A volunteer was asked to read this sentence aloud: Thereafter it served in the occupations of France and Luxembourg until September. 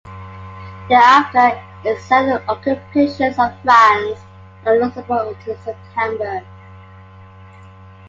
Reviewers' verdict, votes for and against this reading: accepted, 2, 1